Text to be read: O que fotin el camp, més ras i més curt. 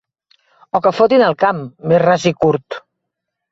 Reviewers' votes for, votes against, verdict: 0, 2, rejected